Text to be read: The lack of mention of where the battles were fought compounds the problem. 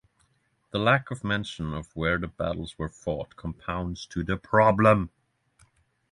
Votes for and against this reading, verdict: 0, 3, rejected